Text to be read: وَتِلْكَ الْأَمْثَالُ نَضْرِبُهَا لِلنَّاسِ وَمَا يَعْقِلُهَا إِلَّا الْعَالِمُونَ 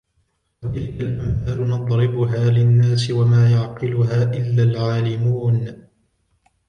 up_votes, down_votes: 1, 2